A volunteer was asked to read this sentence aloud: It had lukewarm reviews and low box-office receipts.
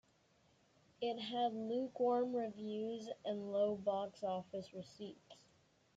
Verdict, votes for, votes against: accepted, 2, 0